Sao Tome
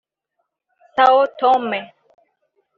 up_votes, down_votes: 0, 2